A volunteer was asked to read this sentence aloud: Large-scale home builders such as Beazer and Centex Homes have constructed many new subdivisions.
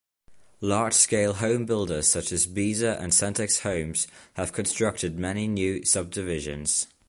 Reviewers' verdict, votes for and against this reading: accepted, 2, 0